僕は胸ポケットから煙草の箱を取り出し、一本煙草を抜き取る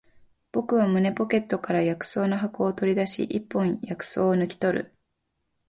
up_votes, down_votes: 0, 2